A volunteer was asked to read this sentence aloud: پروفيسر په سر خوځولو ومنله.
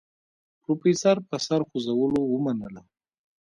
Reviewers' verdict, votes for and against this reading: rejected, 1, 2